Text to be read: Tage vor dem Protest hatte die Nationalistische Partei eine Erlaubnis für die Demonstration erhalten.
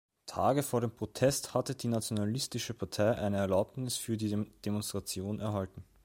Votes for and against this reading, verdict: 2, 1, accepted